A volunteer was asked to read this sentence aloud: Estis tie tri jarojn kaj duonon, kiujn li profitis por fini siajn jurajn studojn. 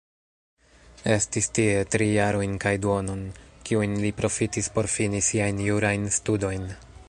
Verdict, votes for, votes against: rejected, 0, 2